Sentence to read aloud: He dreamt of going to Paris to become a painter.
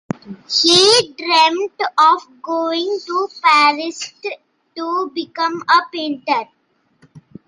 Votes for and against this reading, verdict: 3, 0, accepted